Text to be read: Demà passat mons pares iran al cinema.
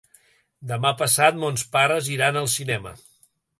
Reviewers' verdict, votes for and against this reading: accepted, 3, 1